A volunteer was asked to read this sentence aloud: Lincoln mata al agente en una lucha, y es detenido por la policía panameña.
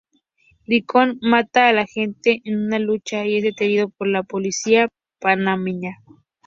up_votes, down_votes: 2, 0